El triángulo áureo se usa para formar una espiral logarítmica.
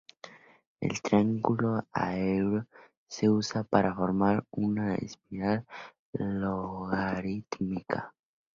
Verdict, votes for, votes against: rejected, 2, 4